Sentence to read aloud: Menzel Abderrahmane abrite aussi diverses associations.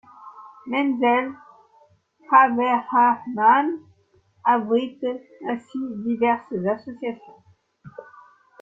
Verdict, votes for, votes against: rejected, 0, 2